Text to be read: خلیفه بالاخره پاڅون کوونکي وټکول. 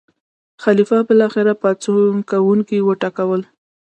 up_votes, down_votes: 1, 2